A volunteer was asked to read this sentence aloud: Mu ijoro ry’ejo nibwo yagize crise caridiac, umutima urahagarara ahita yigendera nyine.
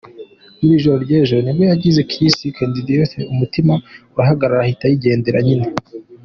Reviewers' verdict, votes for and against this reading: accepted, 2, 0